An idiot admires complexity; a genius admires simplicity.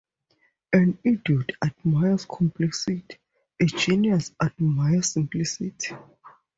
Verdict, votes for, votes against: rejected, 0, 2